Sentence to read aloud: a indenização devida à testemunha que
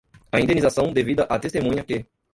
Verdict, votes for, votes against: rejected, 0, 2